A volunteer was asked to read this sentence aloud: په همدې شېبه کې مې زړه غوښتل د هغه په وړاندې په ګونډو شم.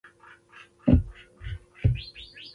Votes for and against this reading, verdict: 1, 2, rejected